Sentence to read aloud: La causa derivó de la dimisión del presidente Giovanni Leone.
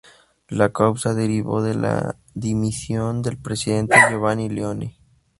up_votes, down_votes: 2, 0